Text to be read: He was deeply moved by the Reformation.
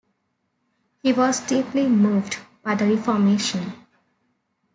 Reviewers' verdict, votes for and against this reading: accepted, 3, 0